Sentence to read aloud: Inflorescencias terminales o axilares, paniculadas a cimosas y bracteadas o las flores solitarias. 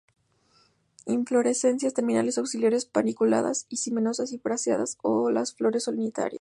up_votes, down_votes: 0, 2